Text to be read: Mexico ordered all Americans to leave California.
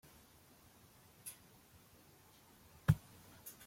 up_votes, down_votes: 0, 2